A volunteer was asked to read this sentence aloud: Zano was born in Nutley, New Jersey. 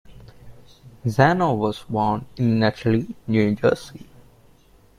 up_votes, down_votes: 1, 2